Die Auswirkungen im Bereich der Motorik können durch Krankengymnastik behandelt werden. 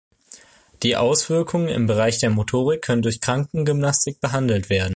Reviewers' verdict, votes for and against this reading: accepted, 2, 0